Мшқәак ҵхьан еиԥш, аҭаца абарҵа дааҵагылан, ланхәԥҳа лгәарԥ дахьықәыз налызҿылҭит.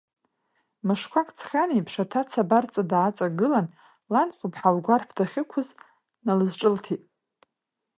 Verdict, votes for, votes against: rejected, 1, 2